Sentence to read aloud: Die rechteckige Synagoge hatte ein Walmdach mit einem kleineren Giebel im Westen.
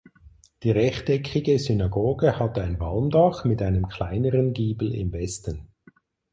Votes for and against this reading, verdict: 4, 0, accepted